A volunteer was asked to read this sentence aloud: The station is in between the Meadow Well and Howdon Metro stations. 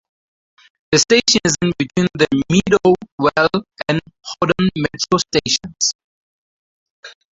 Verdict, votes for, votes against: rejected, 0, 4